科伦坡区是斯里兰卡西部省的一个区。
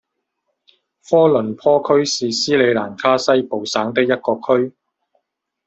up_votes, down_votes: 1, 2